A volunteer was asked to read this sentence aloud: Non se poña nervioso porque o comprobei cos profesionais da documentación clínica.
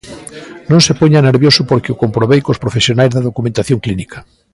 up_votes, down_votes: 0, 2